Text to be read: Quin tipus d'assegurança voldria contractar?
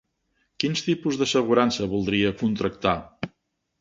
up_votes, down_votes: 4, 5